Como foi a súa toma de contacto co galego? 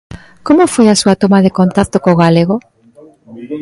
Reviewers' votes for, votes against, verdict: 1, 2, rejected